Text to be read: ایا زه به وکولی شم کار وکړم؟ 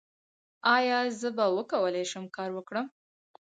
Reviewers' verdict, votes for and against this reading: rejected, 2, 2